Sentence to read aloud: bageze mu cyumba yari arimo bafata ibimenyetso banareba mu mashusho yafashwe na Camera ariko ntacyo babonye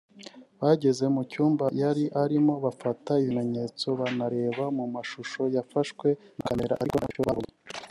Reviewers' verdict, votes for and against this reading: rejected, 0, 2